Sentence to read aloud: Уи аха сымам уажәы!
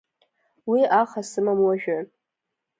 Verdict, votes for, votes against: accepted, 2, 0